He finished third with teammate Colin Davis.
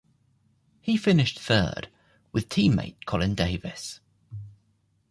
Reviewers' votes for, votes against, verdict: 2, 0, accepted